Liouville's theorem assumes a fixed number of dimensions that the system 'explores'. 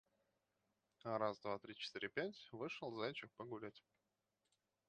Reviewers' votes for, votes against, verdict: 0, 2, rejected